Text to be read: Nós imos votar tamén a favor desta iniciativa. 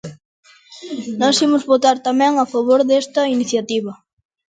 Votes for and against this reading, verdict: 2, 0, accepted